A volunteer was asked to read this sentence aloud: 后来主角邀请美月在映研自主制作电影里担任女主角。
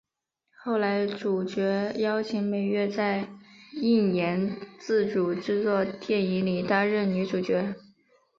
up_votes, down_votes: 2, 0